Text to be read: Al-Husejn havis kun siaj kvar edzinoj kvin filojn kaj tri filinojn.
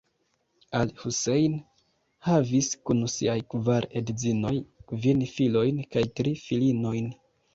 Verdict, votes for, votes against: accepted, 2, 0